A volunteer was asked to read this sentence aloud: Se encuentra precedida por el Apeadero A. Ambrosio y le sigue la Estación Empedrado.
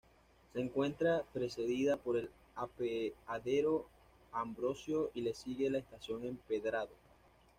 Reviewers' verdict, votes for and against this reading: accepted, 2, 0